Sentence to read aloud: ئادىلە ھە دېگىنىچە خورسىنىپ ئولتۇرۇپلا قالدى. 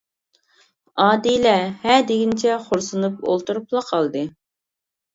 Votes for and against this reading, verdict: 2, 0, accepted